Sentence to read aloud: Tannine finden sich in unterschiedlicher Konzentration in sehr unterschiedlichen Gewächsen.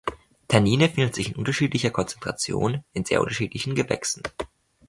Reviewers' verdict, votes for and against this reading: rejected, 1, 2